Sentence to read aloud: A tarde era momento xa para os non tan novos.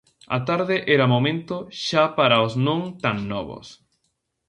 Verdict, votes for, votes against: accepted, 2, 0